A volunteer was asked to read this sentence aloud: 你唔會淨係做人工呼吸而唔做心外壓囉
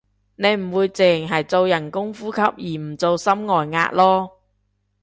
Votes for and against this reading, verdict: 2, 0, accepted